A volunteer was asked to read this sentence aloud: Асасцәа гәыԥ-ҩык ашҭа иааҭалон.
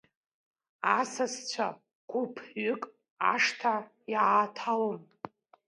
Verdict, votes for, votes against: rejected, 1, 2